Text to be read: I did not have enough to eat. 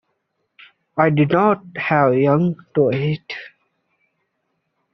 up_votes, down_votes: 0, 2